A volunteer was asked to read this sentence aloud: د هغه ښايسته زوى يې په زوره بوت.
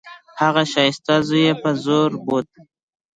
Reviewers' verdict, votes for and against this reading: accepted, 2, 1